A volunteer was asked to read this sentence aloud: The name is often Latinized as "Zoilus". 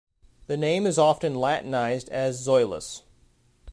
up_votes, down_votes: 2, 0